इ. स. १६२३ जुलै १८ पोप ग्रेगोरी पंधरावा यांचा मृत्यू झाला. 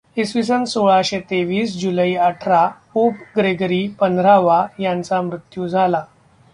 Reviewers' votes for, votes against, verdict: 0, 2, rejected